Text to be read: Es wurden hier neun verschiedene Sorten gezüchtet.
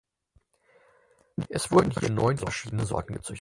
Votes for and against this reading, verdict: 0, 4, rejected